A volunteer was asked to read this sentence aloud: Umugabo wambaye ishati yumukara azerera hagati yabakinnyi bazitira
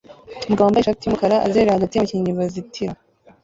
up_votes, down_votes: 0, 2